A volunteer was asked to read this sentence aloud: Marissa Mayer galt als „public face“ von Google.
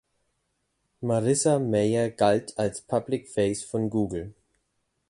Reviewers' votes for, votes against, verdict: 2, 0, accepted